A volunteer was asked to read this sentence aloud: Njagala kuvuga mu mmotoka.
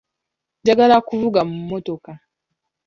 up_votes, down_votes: 2, 0